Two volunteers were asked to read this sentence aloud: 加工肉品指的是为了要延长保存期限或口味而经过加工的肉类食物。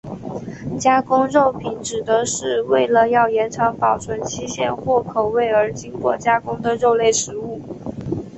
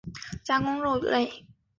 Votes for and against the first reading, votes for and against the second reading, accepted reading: 4, 0, 0, 3, first